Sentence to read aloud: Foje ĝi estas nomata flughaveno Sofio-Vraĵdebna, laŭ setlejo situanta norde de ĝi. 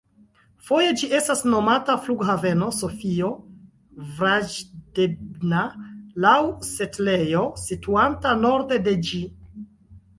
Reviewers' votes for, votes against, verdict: 0, 2, rejected